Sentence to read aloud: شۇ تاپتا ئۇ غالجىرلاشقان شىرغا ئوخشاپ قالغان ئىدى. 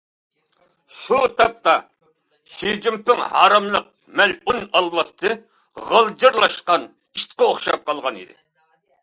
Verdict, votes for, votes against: rejected, 0, 2